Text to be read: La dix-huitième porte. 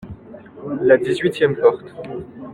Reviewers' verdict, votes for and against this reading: accepted, 2, 1